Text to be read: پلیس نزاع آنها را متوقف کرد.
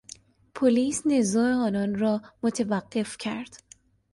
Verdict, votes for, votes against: rejected, 0, 2